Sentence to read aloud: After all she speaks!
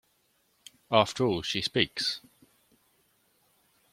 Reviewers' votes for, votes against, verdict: 2, 0, accepted